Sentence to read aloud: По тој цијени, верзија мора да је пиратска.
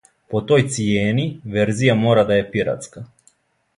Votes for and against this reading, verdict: 2, 0, accepted